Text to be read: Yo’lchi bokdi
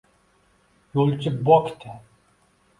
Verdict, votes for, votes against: accepted, 2, 0